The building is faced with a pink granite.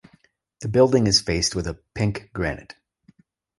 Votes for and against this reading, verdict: 2, 0, accepted